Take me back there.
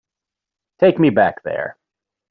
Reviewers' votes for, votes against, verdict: 3, 0, accepted